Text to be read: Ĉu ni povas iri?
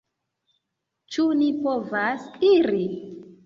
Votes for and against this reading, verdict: 2, 0, accepted